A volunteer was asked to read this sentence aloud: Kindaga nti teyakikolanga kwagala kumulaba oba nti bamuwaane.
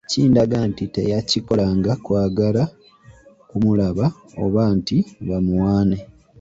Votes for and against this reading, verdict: 1, 2, rejected